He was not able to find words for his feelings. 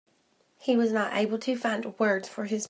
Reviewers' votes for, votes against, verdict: 0, 2, rejected